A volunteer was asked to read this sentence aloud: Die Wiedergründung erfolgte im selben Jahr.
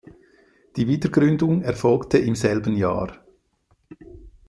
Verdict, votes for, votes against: accepted, 2, 0